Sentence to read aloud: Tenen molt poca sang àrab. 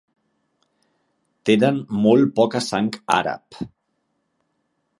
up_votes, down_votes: 3, 0